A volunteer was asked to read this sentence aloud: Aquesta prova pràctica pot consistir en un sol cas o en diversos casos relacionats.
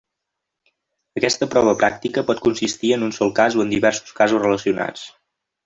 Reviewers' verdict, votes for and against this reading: accepted, 3, 1